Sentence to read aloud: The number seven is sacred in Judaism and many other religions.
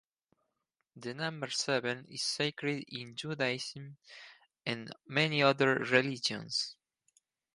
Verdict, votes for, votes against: accepted, 4, 2